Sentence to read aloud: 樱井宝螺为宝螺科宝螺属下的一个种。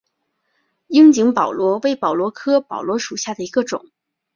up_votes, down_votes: 2, 0